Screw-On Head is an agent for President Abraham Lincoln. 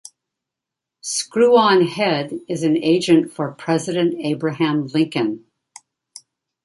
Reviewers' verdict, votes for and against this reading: accepted, 2, 0